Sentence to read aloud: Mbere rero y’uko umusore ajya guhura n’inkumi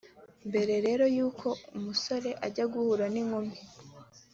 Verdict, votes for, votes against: accepted, 2, 0